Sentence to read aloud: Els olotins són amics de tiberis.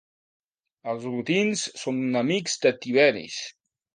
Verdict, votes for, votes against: accepted, 3, 0